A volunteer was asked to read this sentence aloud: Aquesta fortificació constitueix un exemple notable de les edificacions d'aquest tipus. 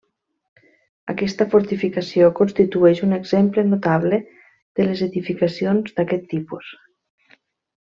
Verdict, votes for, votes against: accepted, 3, 0